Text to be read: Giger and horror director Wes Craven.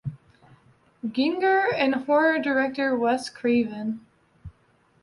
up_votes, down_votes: 1, 2